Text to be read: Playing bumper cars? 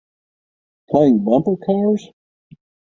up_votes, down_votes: 3, 3